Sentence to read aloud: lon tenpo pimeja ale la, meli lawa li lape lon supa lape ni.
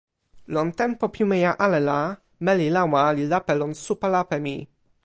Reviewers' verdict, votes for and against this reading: rejected, 1, 2